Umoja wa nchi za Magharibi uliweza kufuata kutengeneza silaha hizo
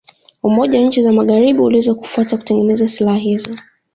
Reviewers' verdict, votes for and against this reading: accepted, 2, 0